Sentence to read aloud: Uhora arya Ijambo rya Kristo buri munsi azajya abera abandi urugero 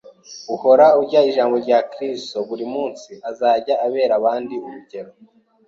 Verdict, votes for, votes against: rejected, 1, 2